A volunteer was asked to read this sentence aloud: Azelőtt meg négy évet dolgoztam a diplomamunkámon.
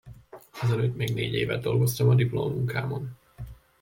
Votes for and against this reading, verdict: 1, 2, rejected